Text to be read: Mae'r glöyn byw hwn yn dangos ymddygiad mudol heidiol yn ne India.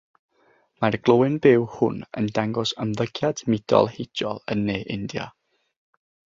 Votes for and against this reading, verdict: 3, 0, accepted